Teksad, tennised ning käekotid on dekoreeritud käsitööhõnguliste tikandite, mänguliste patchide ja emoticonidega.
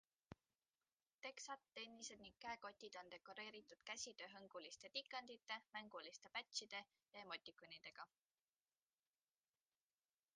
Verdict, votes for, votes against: accepted, 2, 0